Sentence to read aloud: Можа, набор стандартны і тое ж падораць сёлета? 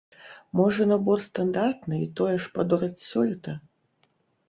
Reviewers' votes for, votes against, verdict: 3, 0, accepted